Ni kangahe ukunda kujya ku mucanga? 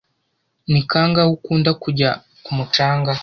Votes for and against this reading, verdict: 2, 0, accepted